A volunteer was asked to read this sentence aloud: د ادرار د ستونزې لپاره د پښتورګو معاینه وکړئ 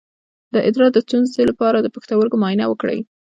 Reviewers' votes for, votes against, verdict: 1, 2, rejected